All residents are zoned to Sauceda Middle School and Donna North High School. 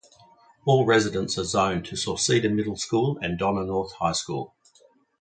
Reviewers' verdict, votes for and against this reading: rejected, 0, 2